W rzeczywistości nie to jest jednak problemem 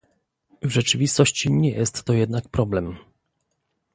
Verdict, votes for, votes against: rejected, 1, 2